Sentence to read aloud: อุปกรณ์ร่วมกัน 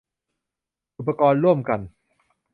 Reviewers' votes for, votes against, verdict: 2, 0, accepted